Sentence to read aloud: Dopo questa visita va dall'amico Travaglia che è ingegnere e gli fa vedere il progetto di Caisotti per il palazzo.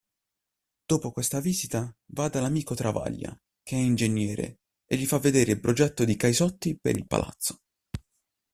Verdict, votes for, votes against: accepted, 2, 0